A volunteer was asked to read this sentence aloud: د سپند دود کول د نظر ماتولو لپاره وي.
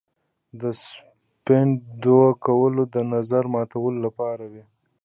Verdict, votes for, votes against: accepted, 2, 0